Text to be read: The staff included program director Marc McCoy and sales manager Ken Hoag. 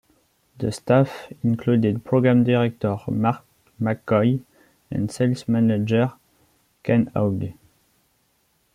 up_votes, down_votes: 2, 0